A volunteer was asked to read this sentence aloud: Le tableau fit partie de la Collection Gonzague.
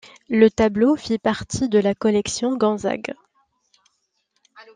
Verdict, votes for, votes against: accepted, 2, 0